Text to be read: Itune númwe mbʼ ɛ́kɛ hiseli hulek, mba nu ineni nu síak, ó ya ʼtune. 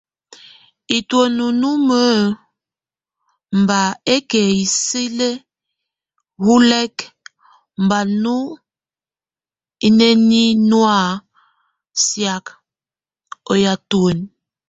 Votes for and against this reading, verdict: 0, 2, rejected